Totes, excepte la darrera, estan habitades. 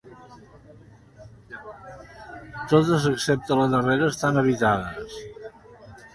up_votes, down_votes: 1, 2